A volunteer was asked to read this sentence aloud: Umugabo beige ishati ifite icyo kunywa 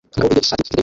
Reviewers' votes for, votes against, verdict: 0, 2, rejected